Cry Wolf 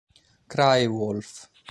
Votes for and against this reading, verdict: 2, 0, accepted